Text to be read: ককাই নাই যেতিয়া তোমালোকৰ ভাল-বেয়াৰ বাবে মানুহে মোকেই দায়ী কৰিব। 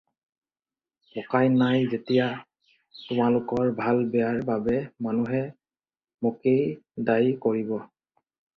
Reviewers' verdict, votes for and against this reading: accepted, 4, 0